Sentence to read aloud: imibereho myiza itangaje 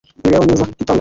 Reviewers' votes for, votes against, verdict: 1, 2, rejected